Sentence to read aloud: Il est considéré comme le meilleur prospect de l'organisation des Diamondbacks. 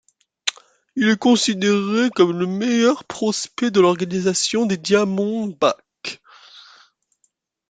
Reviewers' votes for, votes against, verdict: 2, 0, accepted